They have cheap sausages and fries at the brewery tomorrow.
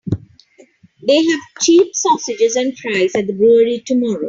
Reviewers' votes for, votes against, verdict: 2, 3, rejected